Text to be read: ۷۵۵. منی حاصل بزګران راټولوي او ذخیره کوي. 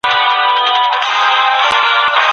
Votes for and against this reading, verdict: 0, 2, rejected